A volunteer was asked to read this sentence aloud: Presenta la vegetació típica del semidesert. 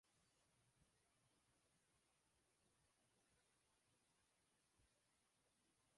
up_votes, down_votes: 1, 2